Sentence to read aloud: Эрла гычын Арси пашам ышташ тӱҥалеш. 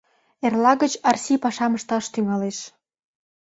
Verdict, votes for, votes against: rejected, 1, 2